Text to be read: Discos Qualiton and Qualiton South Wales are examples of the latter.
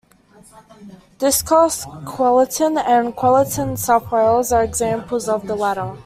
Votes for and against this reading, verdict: 1, 2, rejected